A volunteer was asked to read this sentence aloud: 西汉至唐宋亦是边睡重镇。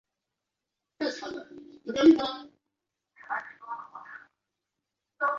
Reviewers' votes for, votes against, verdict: 0, 4, rejected